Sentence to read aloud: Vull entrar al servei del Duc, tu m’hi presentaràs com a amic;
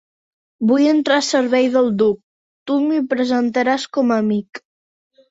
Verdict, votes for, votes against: rejected, 1, 2